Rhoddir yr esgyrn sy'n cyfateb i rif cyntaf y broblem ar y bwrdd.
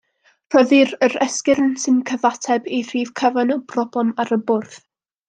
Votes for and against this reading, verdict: 0, 2, rejected